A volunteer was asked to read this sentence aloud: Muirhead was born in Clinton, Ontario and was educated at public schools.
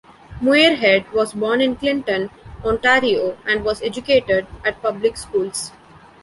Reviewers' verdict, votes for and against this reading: rejected, 1, 2